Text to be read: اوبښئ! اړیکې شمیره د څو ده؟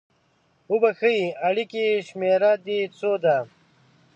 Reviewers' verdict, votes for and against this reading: accepted, 2, 1